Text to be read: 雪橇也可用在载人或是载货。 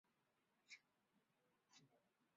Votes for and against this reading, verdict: 2, 3, rejected